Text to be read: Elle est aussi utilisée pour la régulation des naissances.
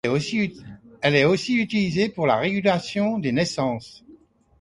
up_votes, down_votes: 1, 2